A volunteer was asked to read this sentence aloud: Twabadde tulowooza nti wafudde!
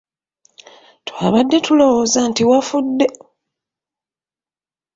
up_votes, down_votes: 2, 0